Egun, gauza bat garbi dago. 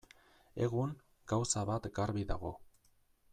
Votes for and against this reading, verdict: 2, 0, accepted